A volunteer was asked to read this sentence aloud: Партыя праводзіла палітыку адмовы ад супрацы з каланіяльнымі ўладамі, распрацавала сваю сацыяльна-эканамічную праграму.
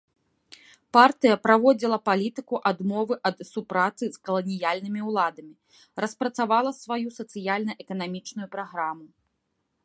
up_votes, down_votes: 2, 0